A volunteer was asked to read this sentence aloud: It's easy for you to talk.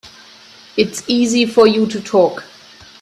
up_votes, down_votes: 3, 0